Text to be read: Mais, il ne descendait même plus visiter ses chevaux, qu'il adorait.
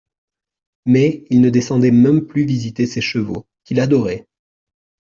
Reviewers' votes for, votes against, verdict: 2, 0, accepted